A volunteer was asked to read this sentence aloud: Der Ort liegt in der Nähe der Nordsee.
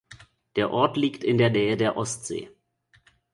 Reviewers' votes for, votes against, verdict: 1, 2, rejected